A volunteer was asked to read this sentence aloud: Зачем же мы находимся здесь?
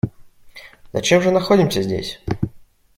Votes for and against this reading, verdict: 1, 2, rejected